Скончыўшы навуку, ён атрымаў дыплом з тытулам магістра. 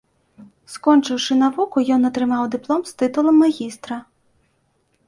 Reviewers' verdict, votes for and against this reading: accepted, 2, 0